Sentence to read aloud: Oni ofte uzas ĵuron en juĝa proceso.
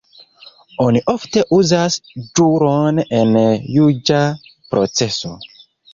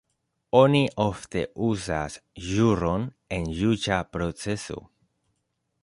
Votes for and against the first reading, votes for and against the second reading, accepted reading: 0, 2, 2, 0, second